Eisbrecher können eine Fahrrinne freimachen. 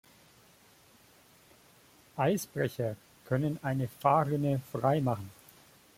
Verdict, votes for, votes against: accepted, 2, 0